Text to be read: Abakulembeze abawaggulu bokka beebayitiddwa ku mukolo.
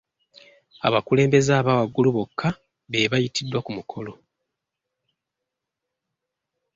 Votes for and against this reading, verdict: 1, 2, rejected